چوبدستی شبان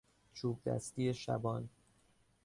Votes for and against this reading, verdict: 2, 0, accepted